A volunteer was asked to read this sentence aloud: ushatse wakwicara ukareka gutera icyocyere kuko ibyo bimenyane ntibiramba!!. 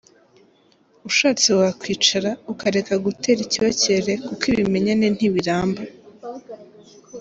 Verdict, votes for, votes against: rejected, 1, 2